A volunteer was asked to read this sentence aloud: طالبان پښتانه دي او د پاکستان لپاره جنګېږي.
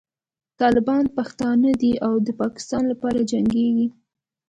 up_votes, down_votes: 3, 0